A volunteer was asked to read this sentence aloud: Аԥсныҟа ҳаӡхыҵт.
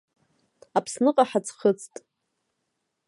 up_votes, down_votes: 1, 2